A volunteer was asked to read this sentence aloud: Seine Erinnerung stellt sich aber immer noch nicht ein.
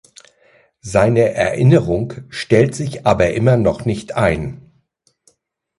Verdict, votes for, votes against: accepted, 2, 0